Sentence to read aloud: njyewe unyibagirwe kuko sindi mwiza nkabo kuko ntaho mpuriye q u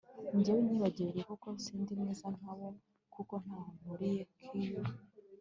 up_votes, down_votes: 1, 2